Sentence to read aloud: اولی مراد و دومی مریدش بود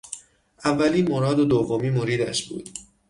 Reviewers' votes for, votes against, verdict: 6, 0, accepted